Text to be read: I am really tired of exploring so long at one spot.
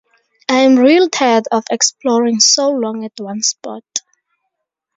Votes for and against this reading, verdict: 2, 2, rejected